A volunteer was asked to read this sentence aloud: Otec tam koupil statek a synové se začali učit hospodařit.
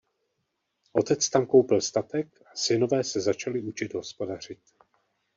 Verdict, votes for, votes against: rejected, 0, 2